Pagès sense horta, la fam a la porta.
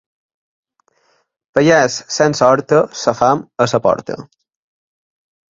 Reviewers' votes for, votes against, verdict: 1, 2, rejected